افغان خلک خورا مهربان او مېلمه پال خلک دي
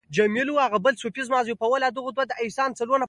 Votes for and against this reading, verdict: 2, 0, accepted